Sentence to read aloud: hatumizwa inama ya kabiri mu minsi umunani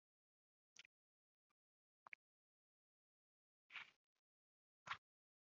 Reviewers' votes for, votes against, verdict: 1, 2, rejected